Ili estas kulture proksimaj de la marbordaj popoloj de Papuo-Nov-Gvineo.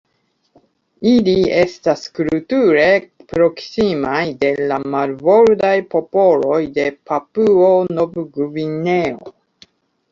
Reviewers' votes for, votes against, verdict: 2, 1, accepted